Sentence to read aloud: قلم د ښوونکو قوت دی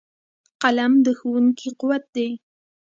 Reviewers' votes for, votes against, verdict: 2, 0, accepted